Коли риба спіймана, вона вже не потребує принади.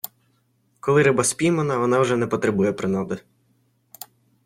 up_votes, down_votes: 2, 0